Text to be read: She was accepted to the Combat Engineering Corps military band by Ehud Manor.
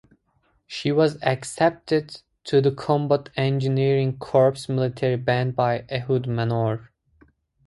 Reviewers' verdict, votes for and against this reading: accepted, 4, 0